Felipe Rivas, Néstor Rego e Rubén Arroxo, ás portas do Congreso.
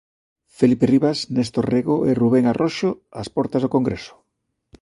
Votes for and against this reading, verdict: 2, 0, accepted